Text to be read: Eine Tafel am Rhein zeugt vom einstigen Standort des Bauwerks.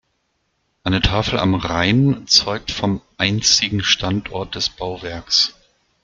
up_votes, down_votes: 1, 2